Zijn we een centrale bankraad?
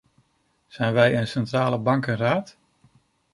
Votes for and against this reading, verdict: 0, 2, rejected